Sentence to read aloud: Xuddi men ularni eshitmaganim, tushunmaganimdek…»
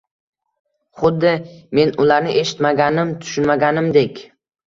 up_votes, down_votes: 2, 0